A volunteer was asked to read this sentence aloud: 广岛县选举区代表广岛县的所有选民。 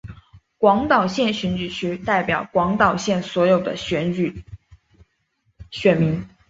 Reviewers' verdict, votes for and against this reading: accepted, 2, 0